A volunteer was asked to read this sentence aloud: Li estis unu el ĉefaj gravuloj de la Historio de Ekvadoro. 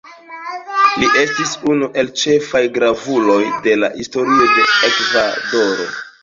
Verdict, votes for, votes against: accepted, 2, 1